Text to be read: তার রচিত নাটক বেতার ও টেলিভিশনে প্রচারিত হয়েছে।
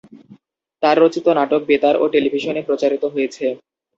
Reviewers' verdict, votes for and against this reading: accepted, 2, 0